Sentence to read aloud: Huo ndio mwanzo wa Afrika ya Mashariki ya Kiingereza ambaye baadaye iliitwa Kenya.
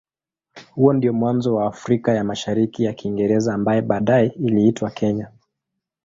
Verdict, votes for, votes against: accepted, 2, 0